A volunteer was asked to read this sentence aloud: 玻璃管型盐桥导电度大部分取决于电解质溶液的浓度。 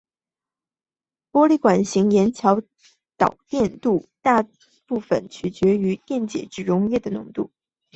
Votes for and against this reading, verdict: 2, 0, accepted